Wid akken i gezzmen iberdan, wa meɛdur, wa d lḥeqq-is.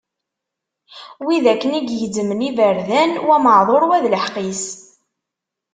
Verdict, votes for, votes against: accepted, 2, 0